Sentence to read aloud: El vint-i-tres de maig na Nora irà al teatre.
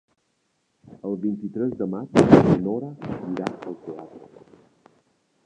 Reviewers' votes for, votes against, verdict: 0, 2, rejected